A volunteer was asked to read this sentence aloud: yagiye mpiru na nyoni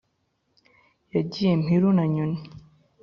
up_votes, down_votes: 3, 0